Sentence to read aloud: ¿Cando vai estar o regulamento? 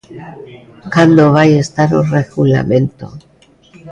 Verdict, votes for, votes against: rejected, 1, 2